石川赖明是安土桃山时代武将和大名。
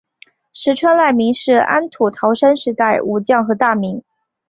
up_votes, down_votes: 3, 0